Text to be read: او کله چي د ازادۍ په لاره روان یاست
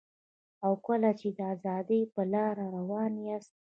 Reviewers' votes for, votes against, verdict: 1, 2, rejected